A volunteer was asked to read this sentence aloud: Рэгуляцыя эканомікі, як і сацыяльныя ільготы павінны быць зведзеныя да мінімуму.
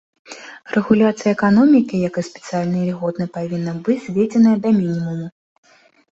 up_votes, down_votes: 0, 2